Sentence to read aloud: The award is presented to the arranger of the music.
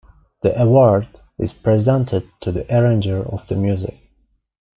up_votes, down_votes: 2, 0